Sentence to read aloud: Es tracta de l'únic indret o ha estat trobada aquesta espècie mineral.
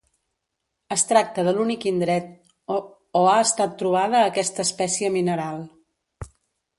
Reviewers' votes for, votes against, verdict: 1, 2, rejected